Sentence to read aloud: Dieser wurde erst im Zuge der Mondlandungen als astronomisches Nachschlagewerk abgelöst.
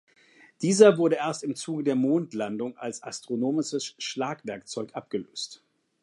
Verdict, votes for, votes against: rejected, 0, 2